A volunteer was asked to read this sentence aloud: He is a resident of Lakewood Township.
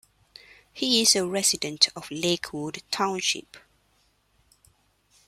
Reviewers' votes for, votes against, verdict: 2, 0, accepted